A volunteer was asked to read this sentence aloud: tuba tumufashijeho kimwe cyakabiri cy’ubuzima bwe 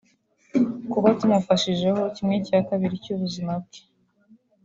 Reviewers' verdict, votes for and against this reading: rejected, 0, 2